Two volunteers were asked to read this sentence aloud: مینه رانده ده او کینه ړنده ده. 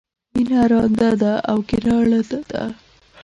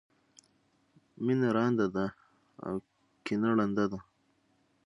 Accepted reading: second